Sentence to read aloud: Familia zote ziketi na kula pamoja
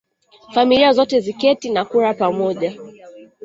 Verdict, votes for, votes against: rejected, 3, 4